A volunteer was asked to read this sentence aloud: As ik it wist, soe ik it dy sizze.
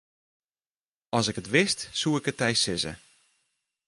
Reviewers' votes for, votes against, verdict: 0, 2, rejected